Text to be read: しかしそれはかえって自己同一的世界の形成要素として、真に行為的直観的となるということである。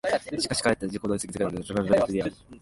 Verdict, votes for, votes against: rejected, 0, 2